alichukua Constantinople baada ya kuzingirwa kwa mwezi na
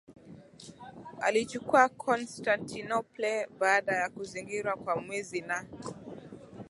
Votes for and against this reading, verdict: 2, 0, accepted